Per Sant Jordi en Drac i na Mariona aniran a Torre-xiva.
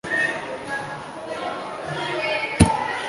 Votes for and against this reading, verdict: 0, 2, rejected